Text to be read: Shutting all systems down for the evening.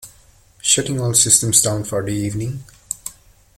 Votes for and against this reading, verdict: 2, 0, accepted